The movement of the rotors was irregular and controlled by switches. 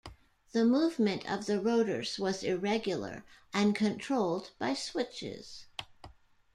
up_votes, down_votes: 2, 1